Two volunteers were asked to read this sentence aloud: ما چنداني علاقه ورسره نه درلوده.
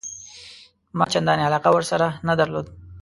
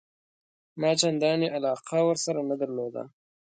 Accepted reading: second